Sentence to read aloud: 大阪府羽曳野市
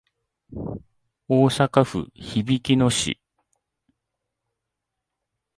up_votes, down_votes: 2, 1